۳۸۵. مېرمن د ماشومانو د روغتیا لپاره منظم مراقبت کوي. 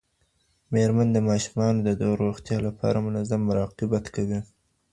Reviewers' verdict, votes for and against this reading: rejected, 0, 2